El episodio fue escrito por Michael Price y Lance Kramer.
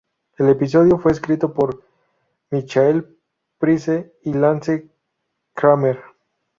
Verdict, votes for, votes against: rejected, 0, 2